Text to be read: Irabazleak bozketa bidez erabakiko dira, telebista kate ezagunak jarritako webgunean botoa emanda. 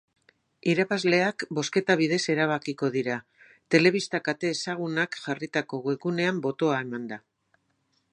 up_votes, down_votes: 4, 0